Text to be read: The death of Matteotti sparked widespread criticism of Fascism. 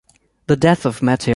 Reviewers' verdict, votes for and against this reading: rejected, 0, 2